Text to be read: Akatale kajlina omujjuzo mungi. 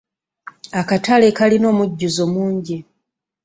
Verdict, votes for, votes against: accepted, 3, 0